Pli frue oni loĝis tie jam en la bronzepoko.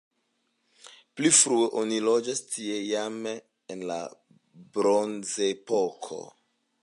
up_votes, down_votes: 0, 2